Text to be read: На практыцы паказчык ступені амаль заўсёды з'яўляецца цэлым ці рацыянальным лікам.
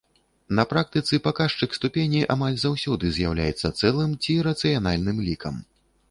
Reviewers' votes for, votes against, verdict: 2, 0, accepted